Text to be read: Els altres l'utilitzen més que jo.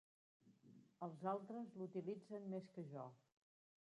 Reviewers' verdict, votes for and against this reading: rejected, 1, 2